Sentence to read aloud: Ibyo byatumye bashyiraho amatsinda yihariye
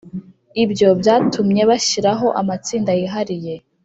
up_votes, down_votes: 2, 0